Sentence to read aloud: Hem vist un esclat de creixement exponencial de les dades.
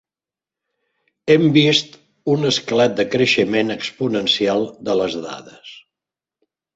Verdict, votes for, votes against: accepted, 3, 0